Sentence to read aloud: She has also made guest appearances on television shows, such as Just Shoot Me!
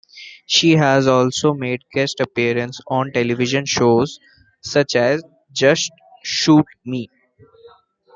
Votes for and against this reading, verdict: 0, 2, rejected